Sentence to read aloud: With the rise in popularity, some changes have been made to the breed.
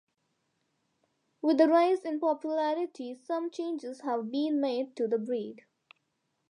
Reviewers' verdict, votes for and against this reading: accepted, 2, 0